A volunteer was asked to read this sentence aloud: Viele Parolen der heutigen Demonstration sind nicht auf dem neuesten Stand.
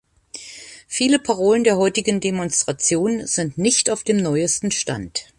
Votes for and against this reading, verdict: 3, 0, accepted